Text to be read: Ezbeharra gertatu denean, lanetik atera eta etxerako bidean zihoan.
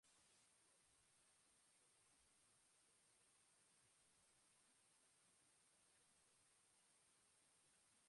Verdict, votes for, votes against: rejected, 0, 3